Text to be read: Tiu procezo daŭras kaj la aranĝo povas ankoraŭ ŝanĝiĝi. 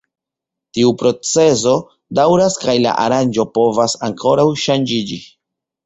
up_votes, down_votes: 2, 0